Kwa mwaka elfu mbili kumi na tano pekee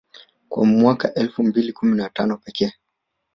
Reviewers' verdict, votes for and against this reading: rejected, 1, 2